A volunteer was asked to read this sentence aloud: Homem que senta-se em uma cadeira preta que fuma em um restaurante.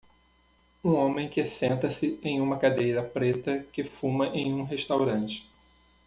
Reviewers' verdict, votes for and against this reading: rejected, 0, 2